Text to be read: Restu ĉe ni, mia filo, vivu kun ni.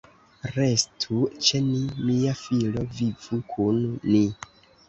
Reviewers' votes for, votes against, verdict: 1, 2, rejected